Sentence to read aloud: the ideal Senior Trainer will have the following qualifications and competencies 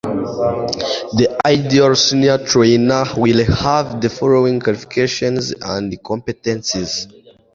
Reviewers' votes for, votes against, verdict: 0, 2, rejected